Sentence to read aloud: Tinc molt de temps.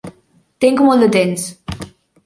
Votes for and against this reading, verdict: 2, 0, accepted